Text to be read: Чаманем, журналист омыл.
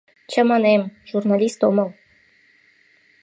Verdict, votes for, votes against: accepted, 2, 0